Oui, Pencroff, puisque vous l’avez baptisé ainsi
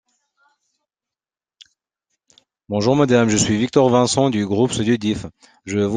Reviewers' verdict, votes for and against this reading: rejected, 0, 2